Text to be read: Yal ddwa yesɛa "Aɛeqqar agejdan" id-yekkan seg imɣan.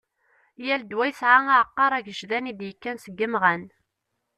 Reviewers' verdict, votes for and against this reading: accepted, 2, 1